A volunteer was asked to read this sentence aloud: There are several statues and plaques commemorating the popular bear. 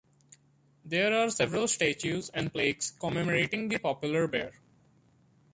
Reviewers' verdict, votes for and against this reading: accepted, 2, 1